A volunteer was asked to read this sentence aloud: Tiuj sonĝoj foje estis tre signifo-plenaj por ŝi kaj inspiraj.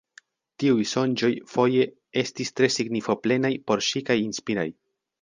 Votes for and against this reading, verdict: 2, 0, accepted